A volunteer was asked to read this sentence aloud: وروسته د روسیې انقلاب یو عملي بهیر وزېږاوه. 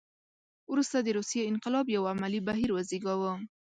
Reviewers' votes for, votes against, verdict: 2, 0, accepted